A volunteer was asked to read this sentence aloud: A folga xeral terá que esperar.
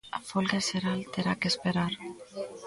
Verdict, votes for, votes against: rejected, 1, 2